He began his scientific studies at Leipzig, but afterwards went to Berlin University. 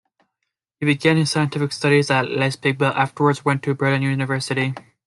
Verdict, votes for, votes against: rejected, 1, 2